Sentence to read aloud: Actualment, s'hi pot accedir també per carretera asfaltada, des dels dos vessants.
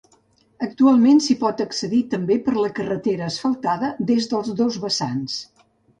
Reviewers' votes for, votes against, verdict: 2, 3, rejected